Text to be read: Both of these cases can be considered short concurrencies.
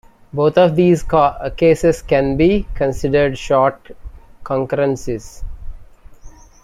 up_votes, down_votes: 1, 2